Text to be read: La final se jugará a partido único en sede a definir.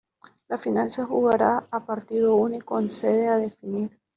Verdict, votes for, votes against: rejected, 1, 2